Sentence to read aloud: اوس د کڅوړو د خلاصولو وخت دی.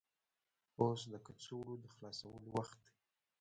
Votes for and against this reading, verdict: 1, 2, rejected